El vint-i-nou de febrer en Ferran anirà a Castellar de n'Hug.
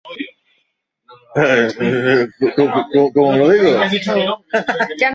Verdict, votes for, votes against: rejected, 0, 2